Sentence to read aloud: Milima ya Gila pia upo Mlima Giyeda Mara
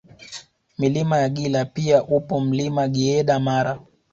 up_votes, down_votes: 2, 0